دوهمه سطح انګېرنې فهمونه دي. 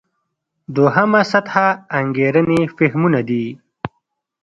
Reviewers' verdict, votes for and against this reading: accepted, 2, 0